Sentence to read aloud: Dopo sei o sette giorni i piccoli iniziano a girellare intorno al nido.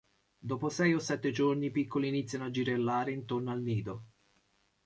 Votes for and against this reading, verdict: 2, 0, accepted